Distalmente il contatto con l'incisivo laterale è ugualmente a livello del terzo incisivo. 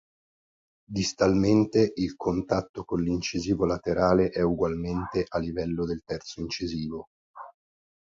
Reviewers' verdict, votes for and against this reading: accepted, 3, 0